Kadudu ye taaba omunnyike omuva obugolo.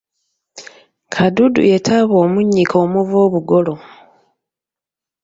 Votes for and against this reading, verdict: 2, 0, accepted